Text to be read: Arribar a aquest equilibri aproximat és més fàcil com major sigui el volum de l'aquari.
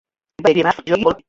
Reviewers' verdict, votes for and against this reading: rejected, 1, 2